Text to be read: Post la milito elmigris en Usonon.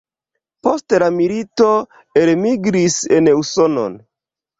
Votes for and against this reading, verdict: 1, 2, rejected